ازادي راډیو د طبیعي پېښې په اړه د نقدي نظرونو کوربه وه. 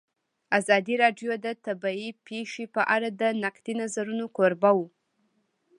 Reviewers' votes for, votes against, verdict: 2, 0, accepted